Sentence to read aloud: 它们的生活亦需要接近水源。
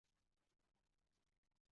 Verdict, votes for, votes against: rejected, 2, 4